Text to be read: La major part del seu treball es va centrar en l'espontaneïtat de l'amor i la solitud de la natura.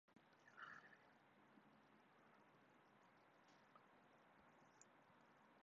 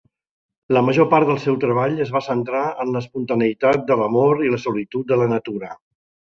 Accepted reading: second